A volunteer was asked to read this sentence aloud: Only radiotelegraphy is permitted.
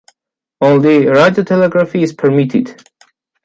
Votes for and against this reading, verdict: 1, 2, rejected